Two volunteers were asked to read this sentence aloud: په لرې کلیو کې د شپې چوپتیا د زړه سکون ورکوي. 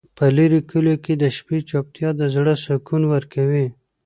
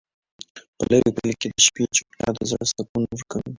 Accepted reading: first